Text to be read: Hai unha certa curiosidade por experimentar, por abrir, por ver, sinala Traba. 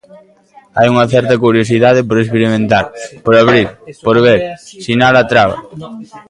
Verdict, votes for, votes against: rejected, 1, 2